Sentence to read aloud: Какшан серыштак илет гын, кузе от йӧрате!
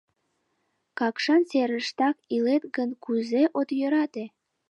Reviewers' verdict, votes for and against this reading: accepted, 2, 0